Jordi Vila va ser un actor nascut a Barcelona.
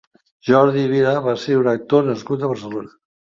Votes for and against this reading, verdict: 2, 0, accepted